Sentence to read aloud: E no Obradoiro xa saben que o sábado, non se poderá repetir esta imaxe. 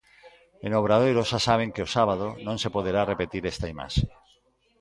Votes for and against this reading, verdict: 3, 0, accepted